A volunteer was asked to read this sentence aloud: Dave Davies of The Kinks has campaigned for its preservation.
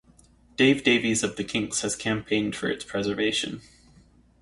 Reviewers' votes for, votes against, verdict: 4, 0, accepted